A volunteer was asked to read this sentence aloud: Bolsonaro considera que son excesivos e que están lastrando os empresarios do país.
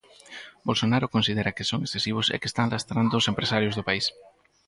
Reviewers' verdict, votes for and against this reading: rejected, 2, 4